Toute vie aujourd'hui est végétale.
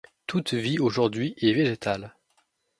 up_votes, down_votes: 2, 0